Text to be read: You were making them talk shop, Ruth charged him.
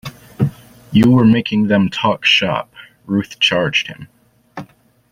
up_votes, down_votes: 2, 0